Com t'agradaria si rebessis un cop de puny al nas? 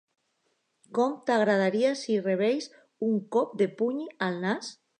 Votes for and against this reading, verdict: 1, 2, rejected